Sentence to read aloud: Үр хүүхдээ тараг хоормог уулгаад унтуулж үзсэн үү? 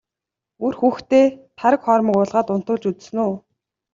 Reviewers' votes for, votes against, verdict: 2, 0, accepted